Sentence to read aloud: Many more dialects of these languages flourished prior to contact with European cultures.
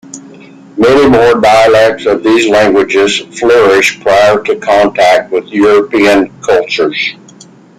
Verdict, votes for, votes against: accepted, 3, 0